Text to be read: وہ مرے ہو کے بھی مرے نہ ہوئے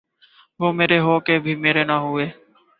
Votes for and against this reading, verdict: 2, 0, accepted